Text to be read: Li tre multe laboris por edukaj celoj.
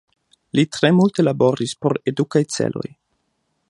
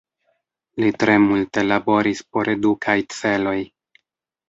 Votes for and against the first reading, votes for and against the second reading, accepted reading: 2, 0, 0, 2, first